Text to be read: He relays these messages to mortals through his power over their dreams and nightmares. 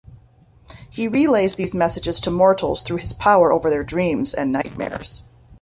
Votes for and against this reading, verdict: 2, 0, accepted